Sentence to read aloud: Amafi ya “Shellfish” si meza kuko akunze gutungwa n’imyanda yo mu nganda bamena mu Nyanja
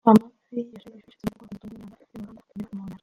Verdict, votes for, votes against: rejected, 0, 2